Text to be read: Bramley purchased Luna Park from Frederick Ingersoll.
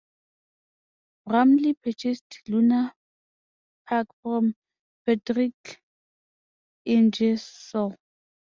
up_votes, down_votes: 1, 2